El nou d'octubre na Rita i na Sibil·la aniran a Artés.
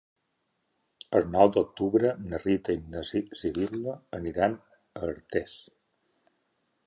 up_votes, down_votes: 1, 2